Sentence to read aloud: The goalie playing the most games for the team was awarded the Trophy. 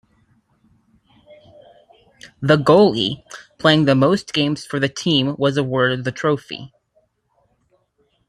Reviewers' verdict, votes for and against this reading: accepted, 2, 0